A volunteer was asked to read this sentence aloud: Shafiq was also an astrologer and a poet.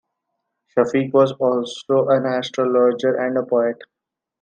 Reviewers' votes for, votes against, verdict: 2, 1, accepted